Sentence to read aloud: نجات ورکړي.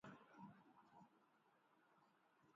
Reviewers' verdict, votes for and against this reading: rejected, 1, 2